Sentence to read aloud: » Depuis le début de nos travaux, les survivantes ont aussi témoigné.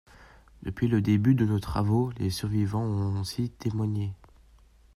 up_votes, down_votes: 0, 2